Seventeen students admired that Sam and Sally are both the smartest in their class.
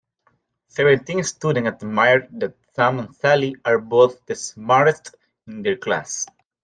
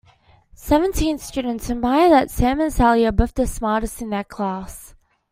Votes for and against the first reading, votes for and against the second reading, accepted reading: 1, 2, 2, 1, second